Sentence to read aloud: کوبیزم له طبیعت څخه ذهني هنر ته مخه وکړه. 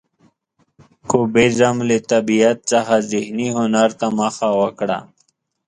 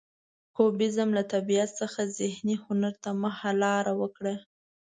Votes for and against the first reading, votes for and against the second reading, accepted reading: 2, 0, 1, 2, first